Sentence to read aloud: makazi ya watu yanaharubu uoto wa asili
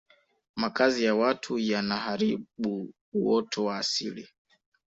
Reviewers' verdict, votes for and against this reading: accepted, 3, 1